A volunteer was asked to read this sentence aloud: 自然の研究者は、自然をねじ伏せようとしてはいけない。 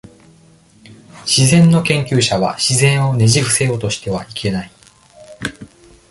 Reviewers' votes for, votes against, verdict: 1, 2, rejected